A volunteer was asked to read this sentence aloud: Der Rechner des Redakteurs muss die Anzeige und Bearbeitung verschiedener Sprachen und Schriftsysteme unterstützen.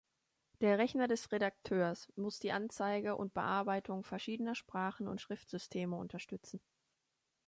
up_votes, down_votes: 2, 0